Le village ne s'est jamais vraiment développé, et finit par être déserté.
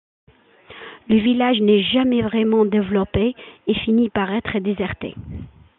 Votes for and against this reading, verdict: 0, 2, rejected